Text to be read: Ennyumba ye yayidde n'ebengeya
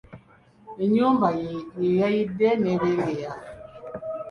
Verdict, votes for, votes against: accepted, 2, 1